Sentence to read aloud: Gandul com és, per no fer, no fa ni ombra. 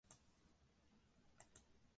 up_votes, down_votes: 0, 2